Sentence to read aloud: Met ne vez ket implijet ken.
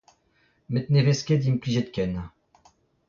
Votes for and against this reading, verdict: 0, 2, rejected